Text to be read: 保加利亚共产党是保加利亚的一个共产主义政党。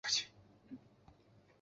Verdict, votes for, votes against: rejected, 0, 2